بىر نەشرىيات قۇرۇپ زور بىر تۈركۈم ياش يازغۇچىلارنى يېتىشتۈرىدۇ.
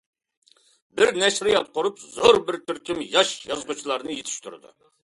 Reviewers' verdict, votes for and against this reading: accepted, 2, 0